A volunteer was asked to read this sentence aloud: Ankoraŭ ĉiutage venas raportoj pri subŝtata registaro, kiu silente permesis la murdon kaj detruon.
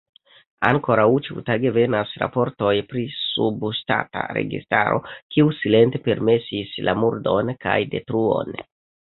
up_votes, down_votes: 0, 2